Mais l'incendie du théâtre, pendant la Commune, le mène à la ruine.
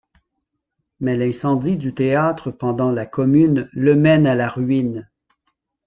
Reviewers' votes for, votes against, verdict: 1, 2, rejected